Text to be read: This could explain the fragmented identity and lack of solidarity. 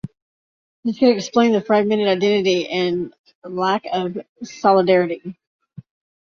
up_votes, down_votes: 2, 1